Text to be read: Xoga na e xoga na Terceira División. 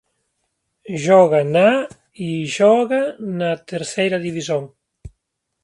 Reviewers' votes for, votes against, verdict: 1, 3, rejected